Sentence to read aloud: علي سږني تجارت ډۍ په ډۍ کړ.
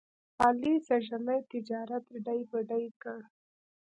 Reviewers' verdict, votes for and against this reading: accepted, 3, 0